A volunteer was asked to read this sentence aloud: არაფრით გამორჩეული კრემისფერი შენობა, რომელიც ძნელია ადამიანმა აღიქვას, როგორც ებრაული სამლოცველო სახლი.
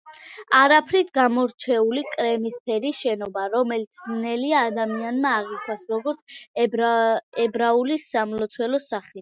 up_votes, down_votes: 1, 2